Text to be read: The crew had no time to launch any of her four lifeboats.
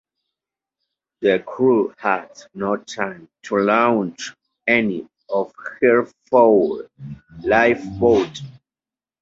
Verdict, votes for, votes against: accepted, 2, 0